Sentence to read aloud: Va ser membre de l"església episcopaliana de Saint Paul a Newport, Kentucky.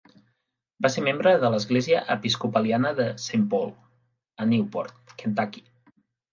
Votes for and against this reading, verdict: 2, 0, accepted